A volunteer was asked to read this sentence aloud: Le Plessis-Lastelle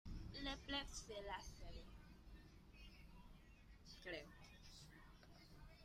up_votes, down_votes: 0, 2